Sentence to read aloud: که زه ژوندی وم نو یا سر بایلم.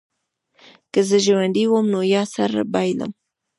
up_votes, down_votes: 2, 0